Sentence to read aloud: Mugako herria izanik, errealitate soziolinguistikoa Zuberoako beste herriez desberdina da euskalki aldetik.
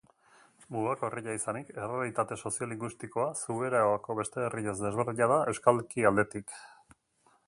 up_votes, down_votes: 2, 0